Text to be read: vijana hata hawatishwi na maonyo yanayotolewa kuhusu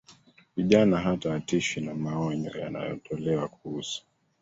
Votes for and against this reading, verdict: 1, 2, rejected